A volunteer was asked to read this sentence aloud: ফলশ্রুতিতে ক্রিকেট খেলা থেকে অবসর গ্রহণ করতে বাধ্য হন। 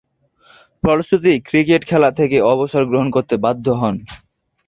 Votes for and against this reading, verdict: 1, 3, rejected